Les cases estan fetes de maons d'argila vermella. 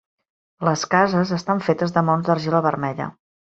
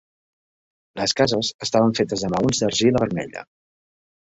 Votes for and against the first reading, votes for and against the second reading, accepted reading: 2, 1, 0, 2, first